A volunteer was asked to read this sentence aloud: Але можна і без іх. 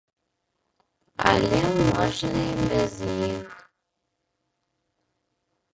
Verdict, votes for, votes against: rejected, 0, 2